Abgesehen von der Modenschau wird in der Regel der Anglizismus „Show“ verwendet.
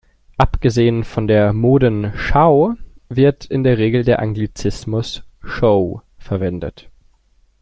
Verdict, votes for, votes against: accepted, 2, 0